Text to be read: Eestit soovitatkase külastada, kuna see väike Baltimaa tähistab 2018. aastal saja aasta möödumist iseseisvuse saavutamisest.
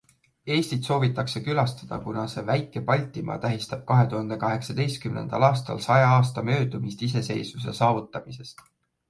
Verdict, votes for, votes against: rejected, 0, 2